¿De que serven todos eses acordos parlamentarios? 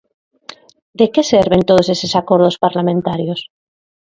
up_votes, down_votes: 2, 0